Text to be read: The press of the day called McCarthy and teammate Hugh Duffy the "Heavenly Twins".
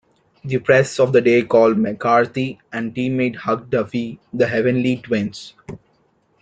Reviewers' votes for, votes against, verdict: 1, 2, rejected